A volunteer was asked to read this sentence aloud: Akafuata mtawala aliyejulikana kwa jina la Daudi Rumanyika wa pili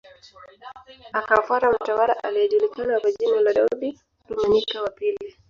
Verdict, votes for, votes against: rejected, 0, 2